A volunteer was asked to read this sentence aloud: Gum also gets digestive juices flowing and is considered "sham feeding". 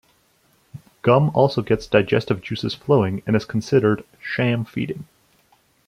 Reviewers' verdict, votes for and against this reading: accepted, 2, 0